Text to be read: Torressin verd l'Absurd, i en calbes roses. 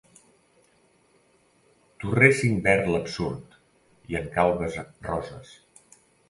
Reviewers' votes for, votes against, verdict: 1, 2, rejected